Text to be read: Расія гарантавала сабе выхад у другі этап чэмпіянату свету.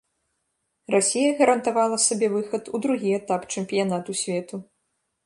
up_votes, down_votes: 2, 0